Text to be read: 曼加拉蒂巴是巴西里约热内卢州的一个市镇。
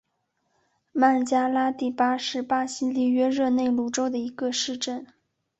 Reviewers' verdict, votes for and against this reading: accepted, 3, 0